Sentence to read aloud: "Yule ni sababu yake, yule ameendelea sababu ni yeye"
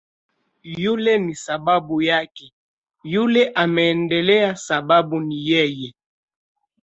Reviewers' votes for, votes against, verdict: 2, 0, accepted